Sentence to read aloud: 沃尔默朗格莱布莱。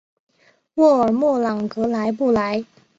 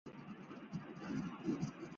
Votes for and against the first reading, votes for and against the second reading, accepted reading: 2, 0, 1, 2, first